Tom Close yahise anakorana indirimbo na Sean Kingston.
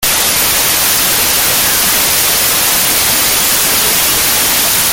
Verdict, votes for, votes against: rejected, 0, 2